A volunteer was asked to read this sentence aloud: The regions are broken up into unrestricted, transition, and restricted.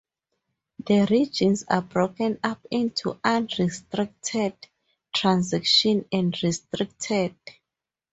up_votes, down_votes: 4, 0